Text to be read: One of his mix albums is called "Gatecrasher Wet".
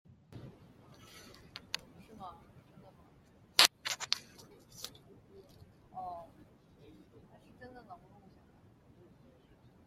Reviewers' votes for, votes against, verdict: 0, 2, rejected